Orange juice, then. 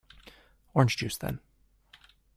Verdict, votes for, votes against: accepted, 2, 0